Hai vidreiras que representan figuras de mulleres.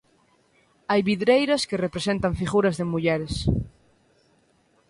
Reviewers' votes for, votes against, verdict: 3, 0, accepted